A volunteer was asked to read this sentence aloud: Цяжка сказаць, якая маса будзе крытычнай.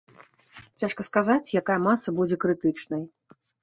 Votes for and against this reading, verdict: 3, 0, accepted